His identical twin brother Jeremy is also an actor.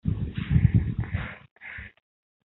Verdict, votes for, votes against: rejected, 0, 2